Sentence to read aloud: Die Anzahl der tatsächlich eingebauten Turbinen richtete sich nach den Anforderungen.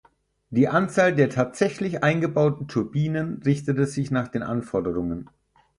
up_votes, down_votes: 4, 0